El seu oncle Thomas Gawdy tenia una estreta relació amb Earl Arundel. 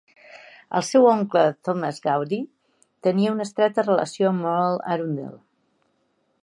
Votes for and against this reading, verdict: 1, 2, rejected